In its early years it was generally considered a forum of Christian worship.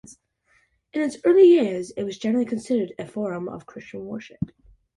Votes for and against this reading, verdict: 2, 0, accepted